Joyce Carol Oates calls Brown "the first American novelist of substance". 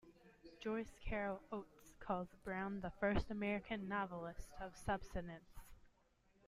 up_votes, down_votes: 2, 0